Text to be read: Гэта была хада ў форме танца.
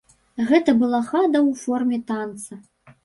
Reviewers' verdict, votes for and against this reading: rejected, 0, 2